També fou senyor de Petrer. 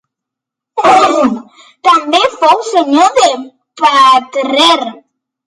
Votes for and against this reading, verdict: 0, 2, rejected